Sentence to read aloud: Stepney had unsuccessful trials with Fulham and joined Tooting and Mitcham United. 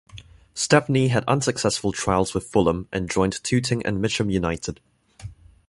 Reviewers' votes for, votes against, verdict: 2, 0, accepted